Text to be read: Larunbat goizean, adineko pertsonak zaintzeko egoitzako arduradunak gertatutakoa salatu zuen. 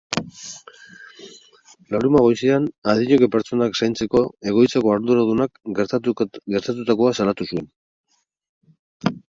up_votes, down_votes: 2, 4